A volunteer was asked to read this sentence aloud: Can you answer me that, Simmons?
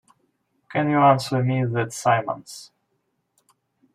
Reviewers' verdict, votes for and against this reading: rejected, 0, 2